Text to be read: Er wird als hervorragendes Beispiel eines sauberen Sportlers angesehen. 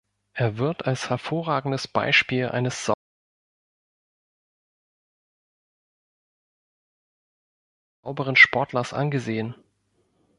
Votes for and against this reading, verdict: 1, 2, rejected